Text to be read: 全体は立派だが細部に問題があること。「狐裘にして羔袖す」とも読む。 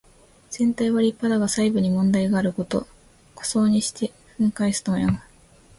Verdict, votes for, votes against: accepted, 2, 1